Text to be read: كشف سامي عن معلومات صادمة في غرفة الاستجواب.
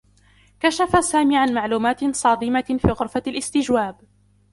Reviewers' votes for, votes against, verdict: 1, 2, rejected